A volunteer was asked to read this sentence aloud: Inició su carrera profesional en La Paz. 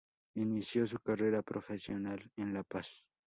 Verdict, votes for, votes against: accepted, 2, 0